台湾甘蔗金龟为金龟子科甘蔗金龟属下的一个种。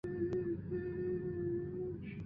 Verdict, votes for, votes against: rejected, 0, 2